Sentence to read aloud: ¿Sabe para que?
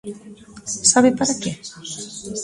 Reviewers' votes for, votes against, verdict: 2, 0, accepted